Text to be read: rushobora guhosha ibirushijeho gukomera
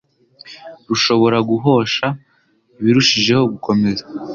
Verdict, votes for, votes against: accepted, 2, 0